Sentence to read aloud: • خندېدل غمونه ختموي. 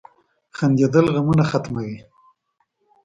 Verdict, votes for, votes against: accepted, 2, 0